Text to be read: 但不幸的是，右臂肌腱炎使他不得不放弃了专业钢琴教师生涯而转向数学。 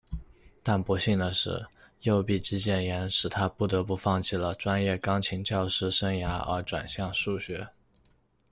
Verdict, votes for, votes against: accepted, 2, 0